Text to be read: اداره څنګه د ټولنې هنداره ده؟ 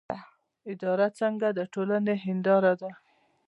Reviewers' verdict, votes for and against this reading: accepted, 2, 0